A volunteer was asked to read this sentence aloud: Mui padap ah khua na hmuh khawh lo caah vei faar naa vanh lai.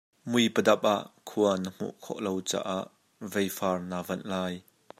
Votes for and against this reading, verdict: 2, 0, accepted